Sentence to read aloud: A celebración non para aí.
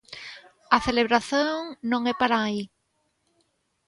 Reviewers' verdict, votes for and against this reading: rejected, 0, 2